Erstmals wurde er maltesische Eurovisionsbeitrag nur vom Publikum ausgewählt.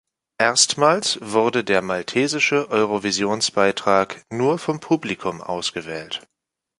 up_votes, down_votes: 1, 2